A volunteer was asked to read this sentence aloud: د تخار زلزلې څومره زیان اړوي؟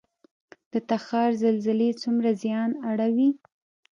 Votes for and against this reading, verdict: 2, 1, accepted